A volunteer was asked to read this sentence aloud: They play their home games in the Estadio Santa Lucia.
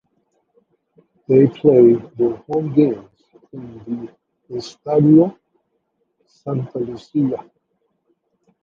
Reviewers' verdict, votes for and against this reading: rejected, 0, 2